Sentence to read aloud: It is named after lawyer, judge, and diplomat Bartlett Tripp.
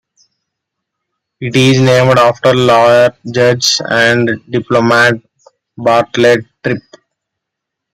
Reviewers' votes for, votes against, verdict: 2, 0, accepted